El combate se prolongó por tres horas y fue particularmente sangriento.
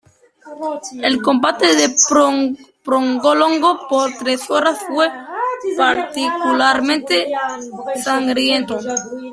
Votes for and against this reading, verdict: 1, 2, rejected